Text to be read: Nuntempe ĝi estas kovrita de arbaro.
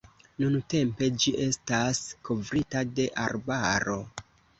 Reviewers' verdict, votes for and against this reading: accepted, 2, 0